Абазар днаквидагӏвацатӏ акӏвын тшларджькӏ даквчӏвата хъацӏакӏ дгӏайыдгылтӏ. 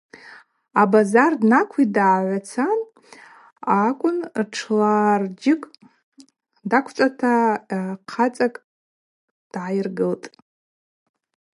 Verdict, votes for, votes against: rejected, 0, 2